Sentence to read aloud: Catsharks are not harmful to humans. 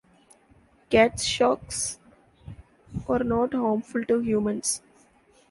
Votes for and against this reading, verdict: 2, 0, accepted